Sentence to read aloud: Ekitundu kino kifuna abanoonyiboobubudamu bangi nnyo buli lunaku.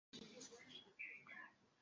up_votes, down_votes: 0, 2